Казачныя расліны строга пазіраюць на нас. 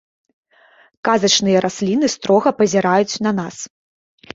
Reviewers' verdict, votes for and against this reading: accepted, 2, 0